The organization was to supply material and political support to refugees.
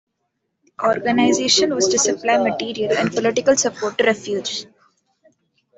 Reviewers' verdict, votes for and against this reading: accepted, 2, 1